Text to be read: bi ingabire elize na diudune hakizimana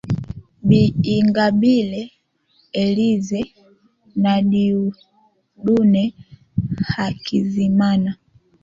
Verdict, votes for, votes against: rejected, 1, 2